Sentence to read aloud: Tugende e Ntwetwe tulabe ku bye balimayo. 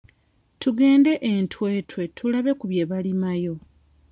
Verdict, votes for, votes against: accepted, 2, 0